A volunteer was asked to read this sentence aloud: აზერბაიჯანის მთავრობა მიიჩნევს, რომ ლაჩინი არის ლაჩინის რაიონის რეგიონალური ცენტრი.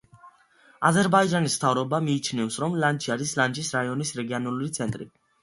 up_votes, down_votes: 0, 2